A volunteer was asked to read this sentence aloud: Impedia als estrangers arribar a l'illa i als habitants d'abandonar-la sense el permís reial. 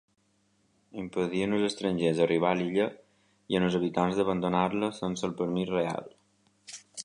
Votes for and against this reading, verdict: 1, 2, rejected